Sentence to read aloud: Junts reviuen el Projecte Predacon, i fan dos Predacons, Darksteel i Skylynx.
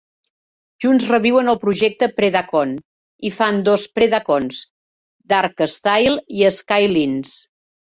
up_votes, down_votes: 1, 2